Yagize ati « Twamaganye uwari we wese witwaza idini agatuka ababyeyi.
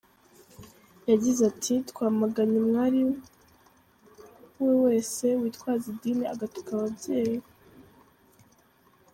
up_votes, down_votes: 1, 2